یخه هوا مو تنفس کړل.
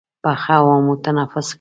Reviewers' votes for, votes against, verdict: 2, 1, accepted